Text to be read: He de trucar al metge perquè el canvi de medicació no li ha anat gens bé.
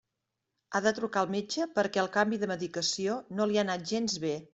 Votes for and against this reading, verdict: 0, 2, rejected